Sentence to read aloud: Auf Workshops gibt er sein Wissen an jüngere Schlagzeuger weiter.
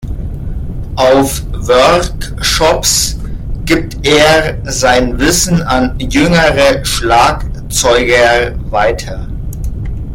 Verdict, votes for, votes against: rejected, 1, 2